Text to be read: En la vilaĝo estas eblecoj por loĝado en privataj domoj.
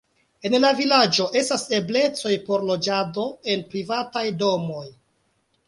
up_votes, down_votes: 3, 1